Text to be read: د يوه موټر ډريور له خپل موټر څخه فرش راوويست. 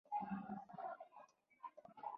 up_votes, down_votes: 2, 1